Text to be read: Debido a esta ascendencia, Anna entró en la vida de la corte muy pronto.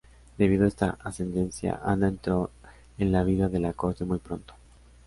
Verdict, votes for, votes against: accepted, 2, 0